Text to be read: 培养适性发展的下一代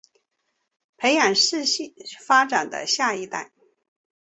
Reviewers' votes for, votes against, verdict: 3, 0, accepted